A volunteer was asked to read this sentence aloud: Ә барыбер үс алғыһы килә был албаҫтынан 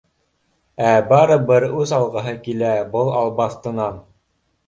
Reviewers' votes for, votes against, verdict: 2, 0, accepted